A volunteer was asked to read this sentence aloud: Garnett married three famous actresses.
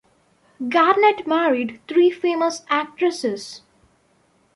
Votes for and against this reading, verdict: 2, 0, accepted